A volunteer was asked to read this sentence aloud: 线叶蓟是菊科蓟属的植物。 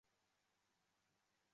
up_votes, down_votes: 0, 2